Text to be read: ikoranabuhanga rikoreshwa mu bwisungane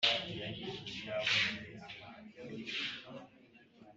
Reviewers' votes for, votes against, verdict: 2, 1, accepted